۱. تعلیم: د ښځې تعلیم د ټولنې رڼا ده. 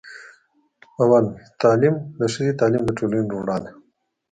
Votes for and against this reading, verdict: 0, 2, rejected